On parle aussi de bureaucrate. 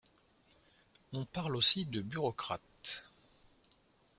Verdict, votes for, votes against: accepted, 2, 0